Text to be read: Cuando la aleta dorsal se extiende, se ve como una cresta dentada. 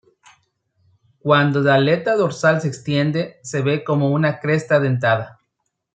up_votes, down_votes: 1, 2